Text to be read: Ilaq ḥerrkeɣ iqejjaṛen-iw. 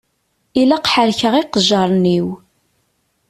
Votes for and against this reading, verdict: 2, 0, accepted